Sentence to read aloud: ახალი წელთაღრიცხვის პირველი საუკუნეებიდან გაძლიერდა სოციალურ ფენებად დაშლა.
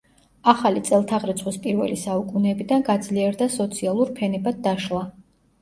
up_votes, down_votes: 2, 0